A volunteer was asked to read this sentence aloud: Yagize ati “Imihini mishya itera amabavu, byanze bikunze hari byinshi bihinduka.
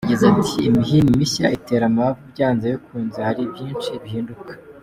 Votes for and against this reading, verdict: 3, 0, accepted